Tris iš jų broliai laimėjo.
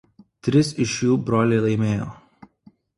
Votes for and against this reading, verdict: 2, 0, accepted